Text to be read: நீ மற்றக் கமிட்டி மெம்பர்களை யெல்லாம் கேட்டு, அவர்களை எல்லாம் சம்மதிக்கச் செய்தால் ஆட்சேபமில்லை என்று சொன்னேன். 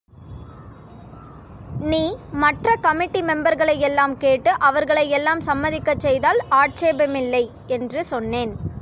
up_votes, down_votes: 2, 0